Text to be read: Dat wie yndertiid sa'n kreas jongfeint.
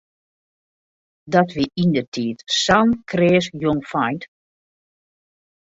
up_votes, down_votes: 2, 0